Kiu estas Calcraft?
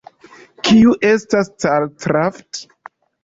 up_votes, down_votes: 2, 1